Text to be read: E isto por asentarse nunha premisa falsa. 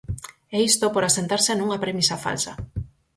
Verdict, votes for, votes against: accepted, 4, 0